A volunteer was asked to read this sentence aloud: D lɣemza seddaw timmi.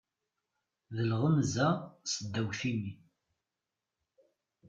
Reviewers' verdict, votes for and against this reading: rejected, 1, 2